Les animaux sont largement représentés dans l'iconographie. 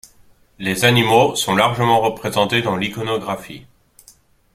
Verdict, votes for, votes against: rejected, 1, 2